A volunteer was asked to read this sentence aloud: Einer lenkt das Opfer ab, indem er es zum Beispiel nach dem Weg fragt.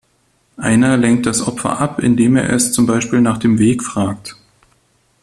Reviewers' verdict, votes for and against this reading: accepted, 2, 1